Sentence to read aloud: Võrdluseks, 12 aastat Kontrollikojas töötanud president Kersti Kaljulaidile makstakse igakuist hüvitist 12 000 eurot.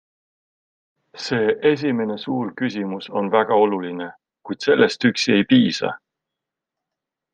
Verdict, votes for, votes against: rejected, 0, 2